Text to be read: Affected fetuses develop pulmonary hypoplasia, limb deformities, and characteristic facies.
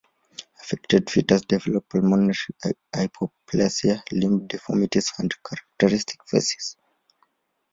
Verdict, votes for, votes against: accepted, 2, 0